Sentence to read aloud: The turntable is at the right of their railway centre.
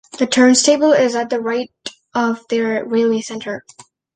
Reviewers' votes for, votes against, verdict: 1, 2, rejected